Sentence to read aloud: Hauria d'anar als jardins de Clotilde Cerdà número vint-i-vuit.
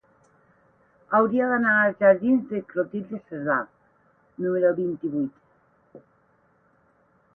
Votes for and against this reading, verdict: 4, 8, rejected